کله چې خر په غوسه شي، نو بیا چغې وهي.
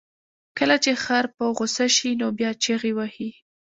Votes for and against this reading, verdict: 1, 2, rejected